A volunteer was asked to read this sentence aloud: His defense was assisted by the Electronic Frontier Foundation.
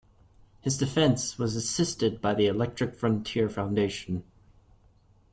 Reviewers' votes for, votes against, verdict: 0, 2, rejected